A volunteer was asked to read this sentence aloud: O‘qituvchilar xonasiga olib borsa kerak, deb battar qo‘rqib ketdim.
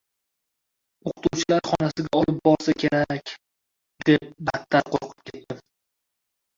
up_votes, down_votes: 0, 2